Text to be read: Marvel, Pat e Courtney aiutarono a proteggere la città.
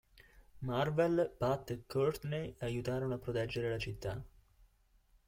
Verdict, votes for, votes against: accepted, 2, 0